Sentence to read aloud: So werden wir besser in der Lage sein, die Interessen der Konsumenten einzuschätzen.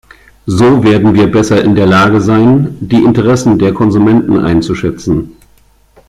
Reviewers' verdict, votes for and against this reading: accepted, 2, 0